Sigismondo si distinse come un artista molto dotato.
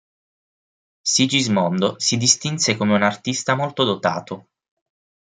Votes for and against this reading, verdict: 6, 0, accepted